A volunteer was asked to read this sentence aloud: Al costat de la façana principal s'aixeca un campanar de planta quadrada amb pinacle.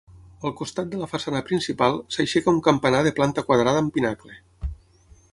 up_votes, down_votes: 6, 0